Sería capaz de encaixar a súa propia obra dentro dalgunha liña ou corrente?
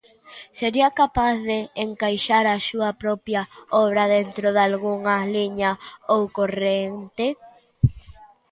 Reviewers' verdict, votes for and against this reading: accepted, 2, 1